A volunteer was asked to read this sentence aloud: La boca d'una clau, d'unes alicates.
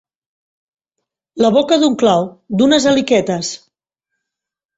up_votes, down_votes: 0, 2